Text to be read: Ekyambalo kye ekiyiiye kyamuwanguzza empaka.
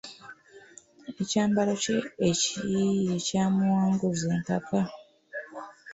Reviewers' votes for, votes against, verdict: 1, 2, rejected